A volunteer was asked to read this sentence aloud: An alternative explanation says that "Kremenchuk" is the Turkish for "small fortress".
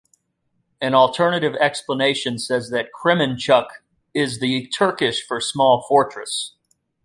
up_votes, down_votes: 2, 0